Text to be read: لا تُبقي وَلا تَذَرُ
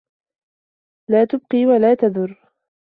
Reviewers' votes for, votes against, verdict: 1, 2, rejected